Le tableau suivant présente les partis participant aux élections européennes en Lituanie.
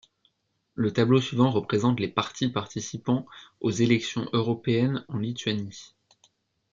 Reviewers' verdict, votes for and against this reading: rejected, 1, 2